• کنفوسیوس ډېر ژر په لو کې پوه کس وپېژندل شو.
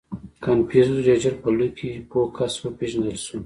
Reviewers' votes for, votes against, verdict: 2, 0, accepted